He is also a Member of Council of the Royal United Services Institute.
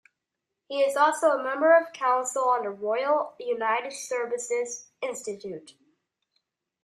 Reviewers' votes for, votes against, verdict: 0, 2, rejected